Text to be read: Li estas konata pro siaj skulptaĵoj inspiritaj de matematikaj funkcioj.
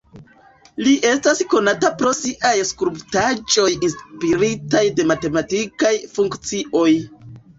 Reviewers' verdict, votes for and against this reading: accepted, 2, 0